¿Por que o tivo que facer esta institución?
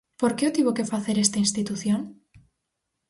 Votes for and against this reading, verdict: 4, 0, accepted